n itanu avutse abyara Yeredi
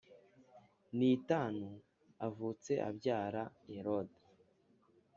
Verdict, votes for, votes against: accepted, 2, 0